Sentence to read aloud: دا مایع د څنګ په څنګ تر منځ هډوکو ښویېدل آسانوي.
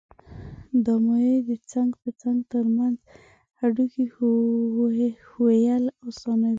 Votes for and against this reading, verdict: 0, 2, rejected